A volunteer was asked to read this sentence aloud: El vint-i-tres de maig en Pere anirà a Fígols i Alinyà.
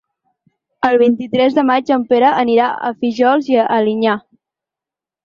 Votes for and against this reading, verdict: 0, 4, rejected